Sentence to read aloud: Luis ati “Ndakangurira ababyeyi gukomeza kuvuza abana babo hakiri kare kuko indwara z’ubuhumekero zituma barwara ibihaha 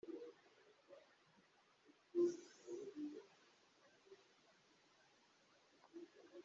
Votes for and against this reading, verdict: 0, 2, rejected